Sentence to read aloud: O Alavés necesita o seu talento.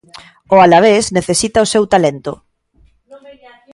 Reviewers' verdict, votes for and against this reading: accepted, 2, 0